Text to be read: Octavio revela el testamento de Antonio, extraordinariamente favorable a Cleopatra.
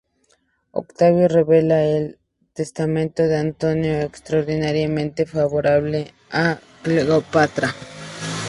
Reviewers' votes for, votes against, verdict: 2, 2, rejected